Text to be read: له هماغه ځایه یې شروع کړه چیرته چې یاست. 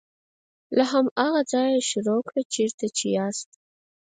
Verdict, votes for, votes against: rejected, 0, 4